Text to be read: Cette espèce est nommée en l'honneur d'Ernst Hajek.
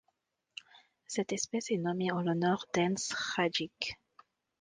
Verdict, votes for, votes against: rejected, 1, 2